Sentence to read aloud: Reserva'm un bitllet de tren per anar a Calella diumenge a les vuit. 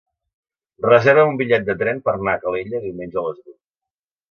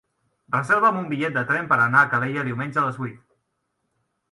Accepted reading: second